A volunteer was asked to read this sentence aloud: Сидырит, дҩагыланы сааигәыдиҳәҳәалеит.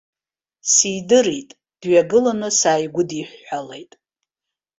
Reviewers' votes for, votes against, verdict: 2, 0, accepted